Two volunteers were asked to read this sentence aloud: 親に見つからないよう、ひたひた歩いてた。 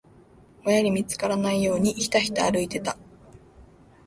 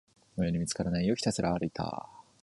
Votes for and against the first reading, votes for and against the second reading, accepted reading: 3, 2, 1, 2, first